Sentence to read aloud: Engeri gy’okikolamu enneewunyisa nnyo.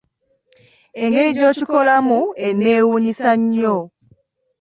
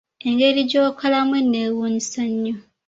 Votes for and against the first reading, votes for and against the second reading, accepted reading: 2, 0, 0, 2, first